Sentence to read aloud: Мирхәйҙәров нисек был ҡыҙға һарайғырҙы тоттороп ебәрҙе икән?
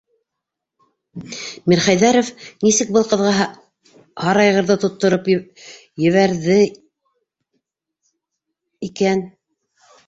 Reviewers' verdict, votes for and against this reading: rejected, 0, 2